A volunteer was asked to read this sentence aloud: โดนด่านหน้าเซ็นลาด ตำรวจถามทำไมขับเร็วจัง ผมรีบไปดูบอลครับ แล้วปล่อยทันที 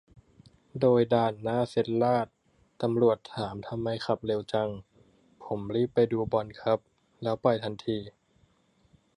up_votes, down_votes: 1, 2